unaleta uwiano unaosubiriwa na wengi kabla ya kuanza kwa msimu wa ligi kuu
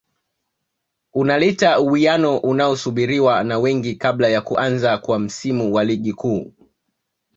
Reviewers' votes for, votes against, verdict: 2, 0, accepted